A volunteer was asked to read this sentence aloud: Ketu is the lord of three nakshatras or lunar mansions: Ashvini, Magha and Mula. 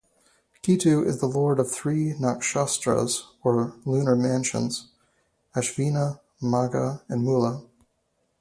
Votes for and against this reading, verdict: 0, 4, rejected